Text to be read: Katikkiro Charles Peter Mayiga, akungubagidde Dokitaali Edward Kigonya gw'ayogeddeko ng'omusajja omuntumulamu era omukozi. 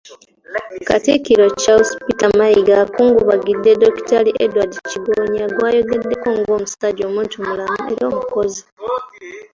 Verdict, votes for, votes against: accepted, 2, 0